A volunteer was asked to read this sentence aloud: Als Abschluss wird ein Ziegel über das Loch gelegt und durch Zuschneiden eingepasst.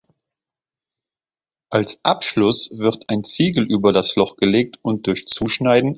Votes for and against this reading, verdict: 0, 3, rejected